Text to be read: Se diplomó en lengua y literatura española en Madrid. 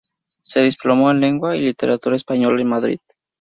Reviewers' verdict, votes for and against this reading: accepted, 2, 0